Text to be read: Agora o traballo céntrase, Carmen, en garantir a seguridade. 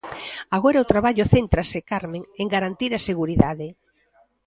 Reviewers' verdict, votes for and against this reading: rejected, 1, 2